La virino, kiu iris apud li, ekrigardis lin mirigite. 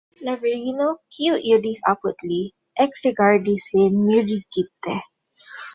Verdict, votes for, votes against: accepted, 2, 0